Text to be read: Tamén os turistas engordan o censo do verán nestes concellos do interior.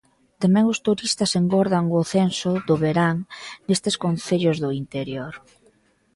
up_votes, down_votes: 2, 0